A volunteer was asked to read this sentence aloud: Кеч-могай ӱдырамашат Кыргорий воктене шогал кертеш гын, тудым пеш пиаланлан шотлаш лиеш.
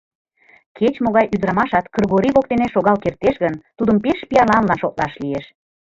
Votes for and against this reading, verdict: 0, 2, rejected